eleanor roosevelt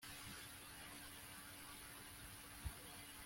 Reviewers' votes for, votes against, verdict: 1, 2, rejected